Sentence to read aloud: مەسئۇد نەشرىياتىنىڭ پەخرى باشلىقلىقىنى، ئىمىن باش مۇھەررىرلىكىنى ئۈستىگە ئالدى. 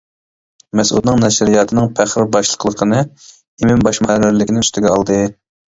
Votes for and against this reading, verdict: 0, 2, rejected